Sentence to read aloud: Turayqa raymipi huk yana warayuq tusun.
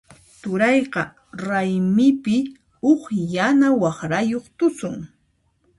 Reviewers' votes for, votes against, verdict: 1, 2, rejected